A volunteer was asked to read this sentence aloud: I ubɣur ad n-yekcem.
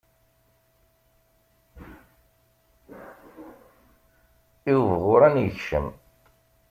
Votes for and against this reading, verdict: 1, 2, rejected